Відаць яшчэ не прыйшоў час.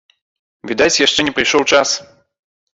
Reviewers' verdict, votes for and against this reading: accepted, 2, 0